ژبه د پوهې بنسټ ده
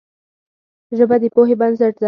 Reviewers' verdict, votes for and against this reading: rejected, 2, 4